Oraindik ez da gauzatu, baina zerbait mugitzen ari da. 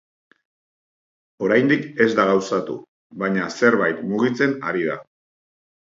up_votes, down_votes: 3, 0